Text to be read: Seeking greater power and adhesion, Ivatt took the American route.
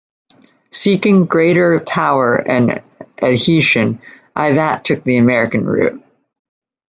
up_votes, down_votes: 0, 2